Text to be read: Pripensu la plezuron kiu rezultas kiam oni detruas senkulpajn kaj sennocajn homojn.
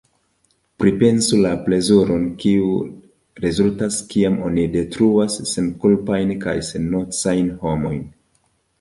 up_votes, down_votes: 2, 0